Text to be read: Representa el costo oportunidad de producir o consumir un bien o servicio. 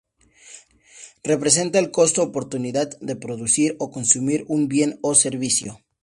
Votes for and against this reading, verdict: 2, 0, accepted